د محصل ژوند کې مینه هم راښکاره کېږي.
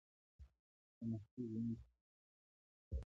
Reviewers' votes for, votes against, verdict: 1, 2, rejected